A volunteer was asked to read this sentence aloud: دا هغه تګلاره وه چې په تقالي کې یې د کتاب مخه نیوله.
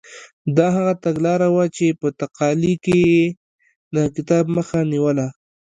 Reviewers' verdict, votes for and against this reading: accepted, 2, 0